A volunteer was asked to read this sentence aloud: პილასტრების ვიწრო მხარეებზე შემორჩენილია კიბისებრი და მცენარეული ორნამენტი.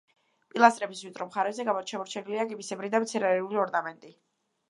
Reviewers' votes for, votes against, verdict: 0, 2, rejected